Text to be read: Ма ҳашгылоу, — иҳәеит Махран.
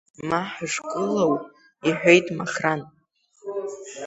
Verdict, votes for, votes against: accepted, 2, 0